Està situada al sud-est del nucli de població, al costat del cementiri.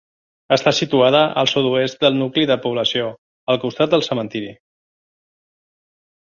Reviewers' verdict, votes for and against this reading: rejected, 0, 2